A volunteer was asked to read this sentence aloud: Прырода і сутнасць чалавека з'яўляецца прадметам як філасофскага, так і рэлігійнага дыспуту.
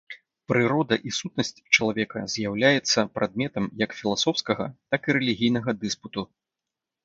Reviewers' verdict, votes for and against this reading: accepted, 2, 0